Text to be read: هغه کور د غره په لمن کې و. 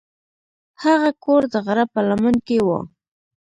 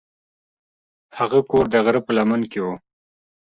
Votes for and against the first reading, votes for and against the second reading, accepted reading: 0, 2, 2, 0, second